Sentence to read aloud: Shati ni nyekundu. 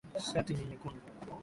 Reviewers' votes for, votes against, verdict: 5, 2, accepted